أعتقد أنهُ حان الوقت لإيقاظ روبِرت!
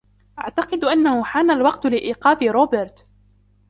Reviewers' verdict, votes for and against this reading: accepted, 2, 0